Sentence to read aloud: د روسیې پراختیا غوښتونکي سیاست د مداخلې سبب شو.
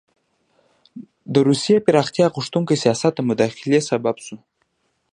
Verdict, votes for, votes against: accepted, 2, 0